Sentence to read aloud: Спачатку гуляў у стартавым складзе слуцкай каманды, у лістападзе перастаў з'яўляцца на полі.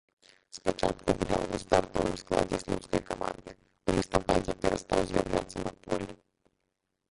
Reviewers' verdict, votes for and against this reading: rejected, 0, 2